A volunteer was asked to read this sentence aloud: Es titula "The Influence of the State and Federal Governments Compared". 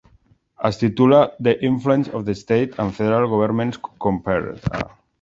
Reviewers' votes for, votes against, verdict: 2, 0, accepted